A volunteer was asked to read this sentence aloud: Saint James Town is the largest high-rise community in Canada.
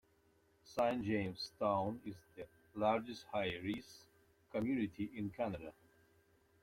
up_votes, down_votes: 1, 2